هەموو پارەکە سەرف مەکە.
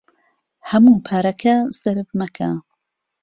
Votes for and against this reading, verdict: 2, 0, accepted